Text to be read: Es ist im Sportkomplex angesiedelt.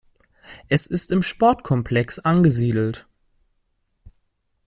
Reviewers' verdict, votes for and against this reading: accepted, 2, 0